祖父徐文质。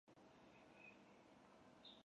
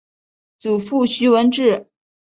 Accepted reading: second